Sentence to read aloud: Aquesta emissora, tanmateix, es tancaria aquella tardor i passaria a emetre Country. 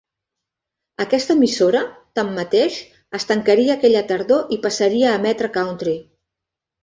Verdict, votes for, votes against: accepted, 2, 0